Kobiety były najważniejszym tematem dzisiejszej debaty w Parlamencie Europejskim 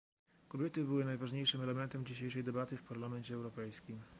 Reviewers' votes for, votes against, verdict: 0, 2, rejected